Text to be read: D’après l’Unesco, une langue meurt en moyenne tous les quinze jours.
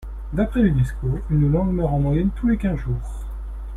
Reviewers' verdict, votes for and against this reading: accepted, 2, 0